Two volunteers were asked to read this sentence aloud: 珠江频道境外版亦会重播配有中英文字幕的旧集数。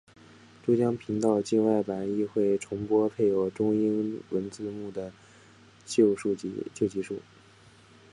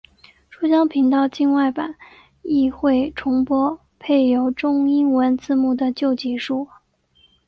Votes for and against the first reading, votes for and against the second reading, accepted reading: 0, 2, 2, 0, second